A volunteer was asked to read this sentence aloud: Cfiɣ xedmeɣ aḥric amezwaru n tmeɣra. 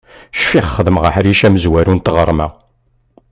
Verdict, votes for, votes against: rejected, 1, 2